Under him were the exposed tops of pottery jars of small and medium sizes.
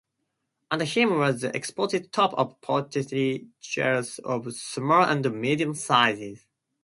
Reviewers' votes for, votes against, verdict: 2, 0, accepted